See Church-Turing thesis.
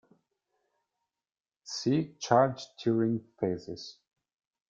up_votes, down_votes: 0, 2